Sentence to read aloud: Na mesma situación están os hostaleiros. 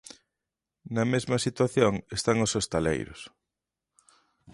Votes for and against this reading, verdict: 2, 0, accepted